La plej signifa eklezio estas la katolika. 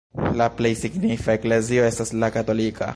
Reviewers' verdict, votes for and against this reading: rejected, 0, 2